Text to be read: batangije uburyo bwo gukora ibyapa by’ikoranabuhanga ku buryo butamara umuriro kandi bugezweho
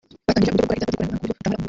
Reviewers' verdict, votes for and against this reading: rejected, 0, 3